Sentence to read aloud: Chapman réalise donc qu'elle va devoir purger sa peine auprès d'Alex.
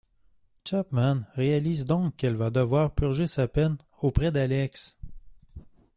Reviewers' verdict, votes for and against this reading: accepted, 3, 1